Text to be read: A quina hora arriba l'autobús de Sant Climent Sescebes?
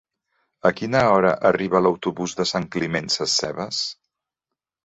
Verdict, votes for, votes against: accepted, 3, 0